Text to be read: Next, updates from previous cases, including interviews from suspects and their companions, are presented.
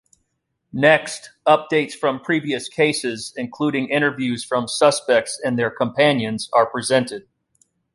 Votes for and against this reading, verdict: 2, 0, accepted